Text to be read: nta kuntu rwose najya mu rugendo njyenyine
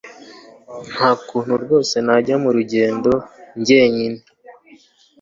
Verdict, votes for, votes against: accepted, 2, 0